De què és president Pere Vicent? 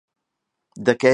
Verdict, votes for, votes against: rejected, 0, 2